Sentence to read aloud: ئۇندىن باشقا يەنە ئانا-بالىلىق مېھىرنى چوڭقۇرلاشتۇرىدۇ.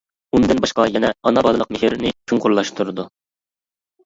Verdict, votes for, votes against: rejected, 1, 2